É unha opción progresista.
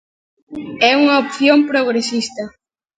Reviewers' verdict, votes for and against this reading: accepted, 2, 1